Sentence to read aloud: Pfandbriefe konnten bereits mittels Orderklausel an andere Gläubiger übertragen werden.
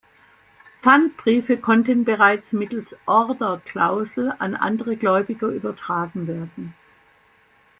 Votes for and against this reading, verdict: 2, 0, accepted